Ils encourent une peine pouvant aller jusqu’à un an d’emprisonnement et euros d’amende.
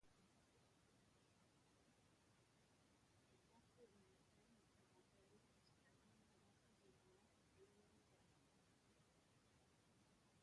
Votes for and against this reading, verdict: 0, 2, rejected